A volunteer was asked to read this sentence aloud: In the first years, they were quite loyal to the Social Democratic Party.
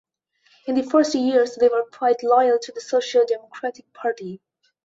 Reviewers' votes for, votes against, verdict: 2, 0, accepted